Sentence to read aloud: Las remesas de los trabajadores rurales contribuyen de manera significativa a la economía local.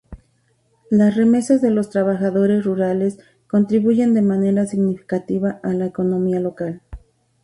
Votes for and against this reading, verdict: 2, 0, accepted